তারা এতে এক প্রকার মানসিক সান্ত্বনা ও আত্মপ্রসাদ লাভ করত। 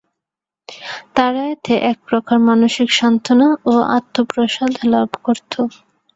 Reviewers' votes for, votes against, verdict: 2, 0, accepted